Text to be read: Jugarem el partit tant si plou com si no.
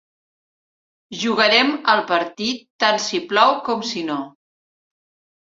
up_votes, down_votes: 3, 0